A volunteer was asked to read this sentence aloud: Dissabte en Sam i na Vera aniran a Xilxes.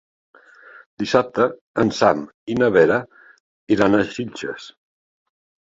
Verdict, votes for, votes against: rejected, 1, 2